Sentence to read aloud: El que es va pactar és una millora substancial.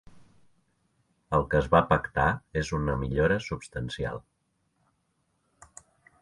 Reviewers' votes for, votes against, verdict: 3, 0, accepted